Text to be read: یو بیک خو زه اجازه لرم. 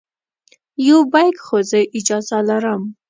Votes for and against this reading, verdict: 2, 0, accepted